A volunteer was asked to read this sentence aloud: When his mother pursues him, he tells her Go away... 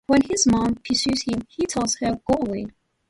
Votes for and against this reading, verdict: 0, 2, rejected